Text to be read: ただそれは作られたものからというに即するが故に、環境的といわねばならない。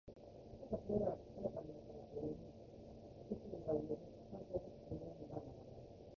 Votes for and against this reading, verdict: 1, 2, rejected